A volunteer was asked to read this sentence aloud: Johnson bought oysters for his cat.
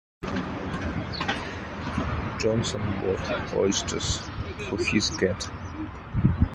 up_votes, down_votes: 2, 0